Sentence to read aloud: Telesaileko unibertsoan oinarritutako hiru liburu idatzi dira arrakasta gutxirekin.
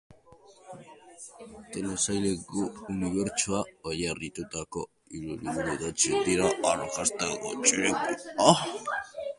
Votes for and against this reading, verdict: 0, 2, rejected